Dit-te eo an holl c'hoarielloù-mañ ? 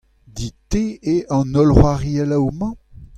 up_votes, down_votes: 2, 0